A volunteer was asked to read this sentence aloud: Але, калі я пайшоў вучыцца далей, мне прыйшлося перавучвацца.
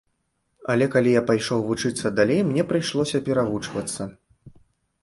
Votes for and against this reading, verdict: 2, 0, accepted